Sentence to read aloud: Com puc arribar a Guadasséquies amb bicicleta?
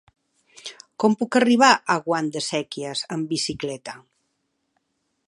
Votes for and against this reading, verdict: 1, 3, rejected